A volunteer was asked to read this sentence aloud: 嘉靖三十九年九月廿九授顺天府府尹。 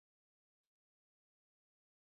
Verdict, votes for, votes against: rejected, 0, 2